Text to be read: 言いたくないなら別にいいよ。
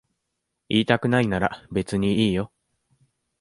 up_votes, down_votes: 2, 0